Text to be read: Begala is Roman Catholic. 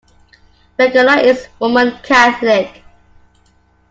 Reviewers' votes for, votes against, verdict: 2, 0, accepted